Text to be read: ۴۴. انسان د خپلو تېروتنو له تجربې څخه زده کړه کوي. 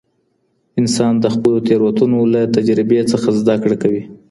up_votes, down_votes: 0, 2